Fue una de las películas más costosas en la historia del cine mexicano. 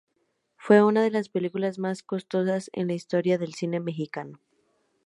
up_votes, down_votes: 2, 0